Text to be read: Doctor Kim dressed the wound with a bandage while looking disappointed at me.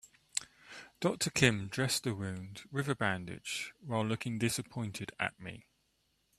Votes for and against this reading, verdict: 3, 0, accepted